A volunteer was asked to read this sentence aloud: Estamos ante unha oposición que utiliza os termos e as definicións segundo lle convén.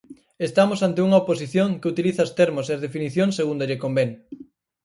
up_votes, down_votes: 4, 0